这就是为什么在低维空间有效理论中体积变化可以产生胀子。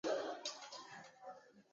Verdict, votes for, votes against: rejected, 0, 2